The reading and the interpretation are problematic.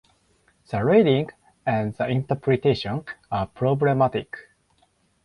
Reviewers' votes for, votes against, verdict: 4, 0, accepted